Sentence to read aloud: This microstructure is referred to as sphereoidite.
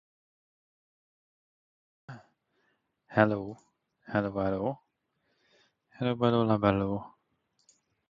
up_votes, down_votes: 0, 2